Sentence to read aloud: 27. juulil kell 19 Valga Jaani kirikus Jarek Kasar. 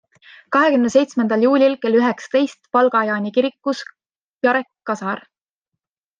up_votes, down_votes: 0, 2